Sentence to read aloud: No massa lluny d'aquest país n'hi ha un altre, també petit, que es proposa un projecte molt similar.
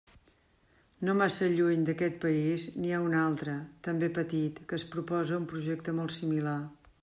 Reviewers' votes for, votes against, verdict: 3, 0, accepted